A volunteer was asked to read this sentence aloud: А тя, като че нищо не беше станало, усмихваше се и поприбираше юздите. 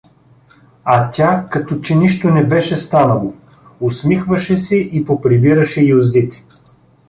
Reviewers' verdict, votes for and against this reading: accepted, 2, 0